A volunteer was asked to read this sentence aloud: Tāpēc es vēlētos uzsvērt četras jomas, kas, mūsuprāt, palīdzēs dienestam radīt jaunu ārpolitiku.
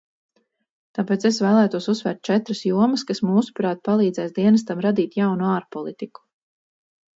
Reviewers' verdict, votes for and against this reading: rejected, 2, 2